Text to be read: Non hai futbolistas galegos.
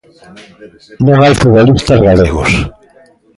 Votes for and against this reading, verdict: 2, 1, accepted